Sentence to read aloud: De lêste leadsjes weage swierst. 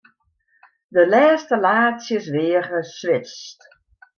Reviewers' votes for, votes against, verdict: 1, 2, rejected